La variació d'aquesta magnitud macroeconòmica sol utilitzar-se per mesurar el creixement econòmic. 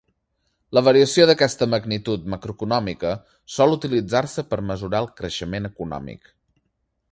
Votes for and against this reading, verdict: 2, 0, accepted